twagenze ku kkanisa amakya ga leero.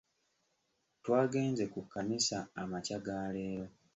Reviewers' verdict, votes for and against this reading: accepted, 3, 1